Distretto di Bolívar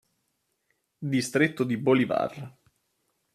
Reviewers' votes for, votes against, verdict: 2, 0, accepted